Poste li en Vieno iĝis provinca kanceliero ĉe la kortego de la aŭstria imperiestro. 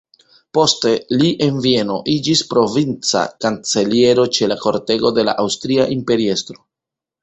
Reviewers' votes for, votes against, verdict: 0, 2, rejected